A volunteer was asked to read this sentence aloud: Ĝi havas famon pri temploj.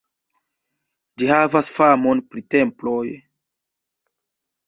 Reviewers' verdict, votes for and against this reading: accepted, 2, 1